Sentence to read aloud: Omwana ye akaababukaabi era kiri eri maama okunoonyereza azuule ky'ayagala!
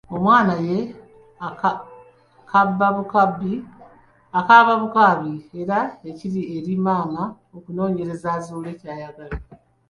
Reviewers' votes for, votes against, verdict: 1, 2, rejected